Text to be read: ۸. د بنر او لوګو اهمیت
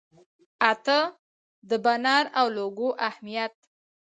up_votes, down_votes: 0, 2